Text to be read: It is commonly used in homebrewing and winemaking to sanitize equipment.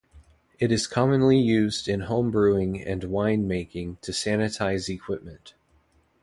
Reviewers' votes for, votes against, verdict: 2, 0, accepted